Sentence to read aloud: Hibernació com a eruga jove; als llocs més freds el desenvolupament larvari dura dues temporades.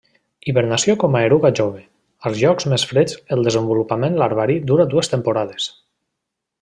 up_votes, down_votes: 2, 0